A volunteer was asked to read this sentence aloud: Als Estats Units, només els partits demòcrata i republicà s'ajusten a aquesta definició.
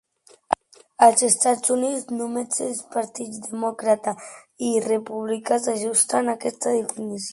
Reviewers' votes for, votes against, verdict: 0, 2, rejected